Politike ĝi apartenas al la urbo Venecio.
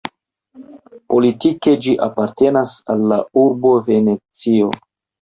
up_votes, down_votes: 2, 0